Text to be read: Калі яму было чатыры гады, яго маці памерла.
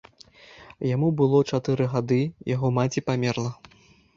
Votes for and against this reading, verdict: 0, 2, rejected